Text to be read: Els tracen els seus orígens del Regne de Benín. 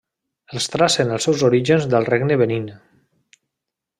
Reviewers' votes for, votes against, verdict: 1, 2, rejected